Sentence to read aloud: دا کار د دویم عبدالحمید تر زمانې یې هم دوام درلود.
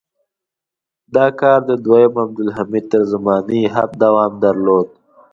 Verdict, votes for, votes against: accepted, 2, 0